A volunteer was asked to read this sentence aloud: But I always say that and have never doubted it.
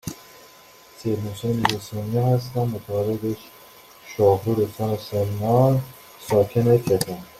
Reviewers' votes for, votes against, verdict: 0, 2, rejected